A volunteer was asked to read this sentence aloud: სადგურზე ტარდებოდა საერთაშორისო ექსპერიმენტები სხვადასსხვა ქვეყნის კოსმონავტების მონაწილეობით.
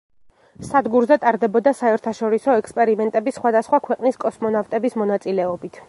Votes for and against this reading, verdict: 1, 2, rejected